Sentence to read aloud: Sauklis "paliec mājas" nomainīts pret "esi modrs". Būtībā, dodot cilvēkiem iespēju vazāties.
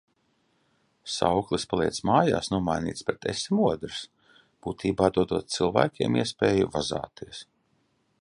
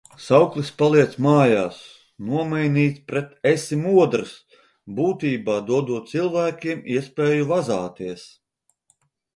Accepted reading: second